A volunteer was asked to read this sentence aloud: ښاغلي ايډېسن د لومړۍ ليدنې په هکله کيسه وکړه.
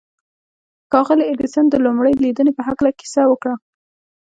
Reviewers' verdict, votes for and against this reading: accepted, 2, 0